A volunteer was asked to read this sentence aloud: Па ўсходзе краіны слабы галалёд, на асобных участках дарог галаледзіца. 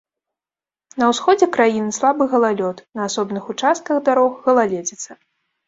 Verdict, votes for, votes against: rejected, 0, 2